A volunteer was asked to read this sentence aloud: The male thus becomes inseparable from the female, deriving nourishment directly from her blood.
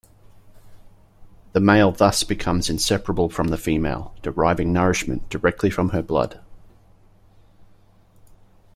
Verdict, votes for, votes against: accepted, 2, 0